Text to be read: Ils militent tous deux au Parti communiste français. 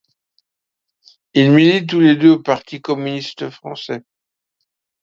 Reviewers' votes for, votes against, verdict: 0, 2, rejected